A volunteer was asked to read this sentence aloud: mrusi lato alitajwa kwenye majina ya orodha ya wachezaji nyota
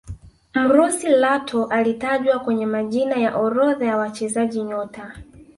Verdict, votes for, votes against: accepted, 2, 1